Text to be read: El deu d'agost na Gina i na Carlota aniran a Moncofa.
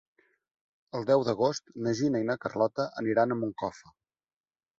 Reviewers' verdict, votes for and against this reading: accepted, 4, 1